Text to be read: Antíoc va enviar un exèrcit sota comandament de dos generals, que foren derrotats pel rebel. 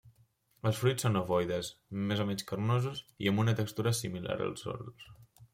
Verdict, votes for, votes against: rejected, 0, 2